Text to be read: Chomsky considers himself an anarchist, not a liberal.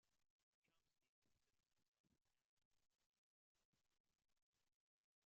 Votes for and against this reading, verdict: 0, 3, rejected